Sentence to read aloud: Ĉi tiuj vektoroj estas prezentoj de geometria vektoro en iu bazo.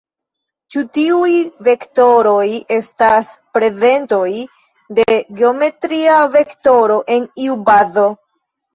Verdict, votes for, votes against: rejected, 1, 2